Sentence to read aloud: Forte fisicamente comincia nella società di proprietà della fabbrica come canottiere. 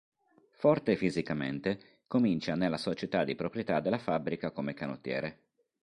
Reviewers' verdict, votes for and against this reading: accepted, 3, 0